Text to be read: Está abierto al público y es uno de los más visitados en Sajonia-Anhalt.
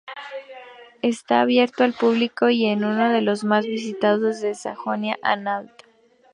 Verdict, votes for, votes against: rejected, 0, 2